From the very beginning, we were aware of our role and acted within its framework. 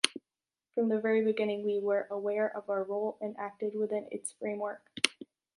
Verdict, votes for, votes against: accepted, 2, 0